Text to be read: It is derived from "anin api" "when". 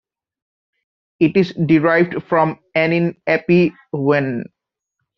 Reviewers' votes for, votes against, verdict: 2, 0, accepted